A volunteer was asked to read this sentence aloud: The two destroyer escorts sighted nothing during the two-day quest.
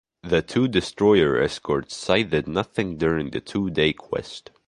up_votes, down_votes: 0, 2